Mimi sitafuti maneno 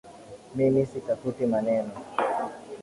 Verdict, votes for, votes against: rejected, 0, 2